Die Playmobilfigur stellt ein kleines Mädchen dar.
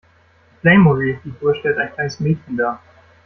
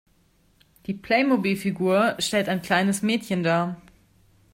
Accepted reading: second